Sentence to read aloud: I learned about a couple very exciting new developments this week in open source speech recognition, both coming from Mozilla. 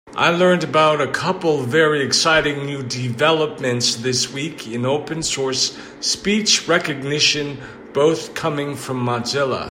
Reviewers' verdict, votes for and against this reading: accepted, 2, 1